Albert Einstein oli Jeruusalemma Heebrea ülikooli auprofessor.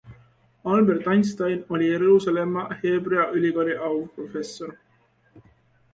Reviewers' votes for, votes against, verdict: 2, 0, accepted